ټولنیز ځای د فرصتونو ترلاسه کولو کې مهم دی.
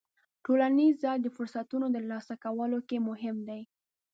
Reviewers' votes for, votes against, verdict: 2, 0, accepted